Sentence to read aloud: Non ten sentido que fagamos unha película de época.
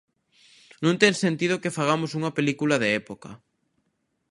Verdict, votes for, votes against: accepted, 2, 0